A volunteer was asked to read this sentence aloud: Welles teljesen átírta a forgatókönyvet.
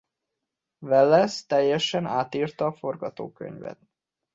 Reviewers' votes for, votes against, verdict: 0, 2, rejected